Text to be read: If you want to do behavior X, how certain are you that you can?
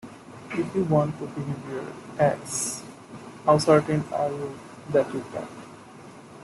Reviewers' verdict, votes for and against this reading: rejected, 1, 2